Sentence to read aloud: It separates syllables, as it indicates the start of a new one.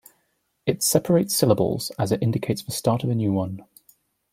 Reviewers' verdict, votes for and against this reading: accepted, 2, 0